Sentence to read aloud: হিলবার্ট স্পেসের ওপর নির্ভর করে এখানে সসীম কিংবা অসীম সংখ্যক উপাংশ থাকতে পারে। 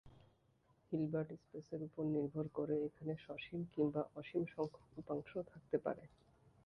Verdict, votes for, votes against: rejected, 0, 3